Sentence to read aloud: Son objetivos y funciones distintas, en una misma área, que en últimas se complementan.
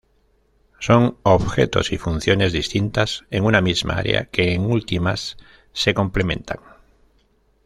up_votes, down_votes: 1, 2